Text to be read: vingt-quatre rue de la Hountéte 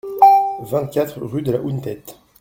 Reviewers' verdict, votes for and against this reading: rejected, 1, 2